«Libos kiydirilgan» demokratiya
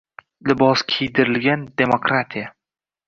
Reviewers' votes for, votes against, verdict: 2, 0, accepted